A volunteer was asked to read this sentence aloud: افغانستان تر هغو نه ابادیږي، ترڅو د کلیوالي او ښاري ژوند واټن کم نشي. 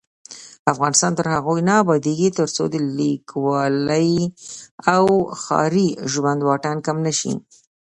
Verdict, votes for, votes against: rejected, 0, 2